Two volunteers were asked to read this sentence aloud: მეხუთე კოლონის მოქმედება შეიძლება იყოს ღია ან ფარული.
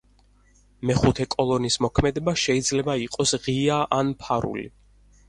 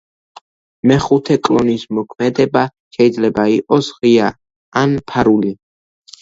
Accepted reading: first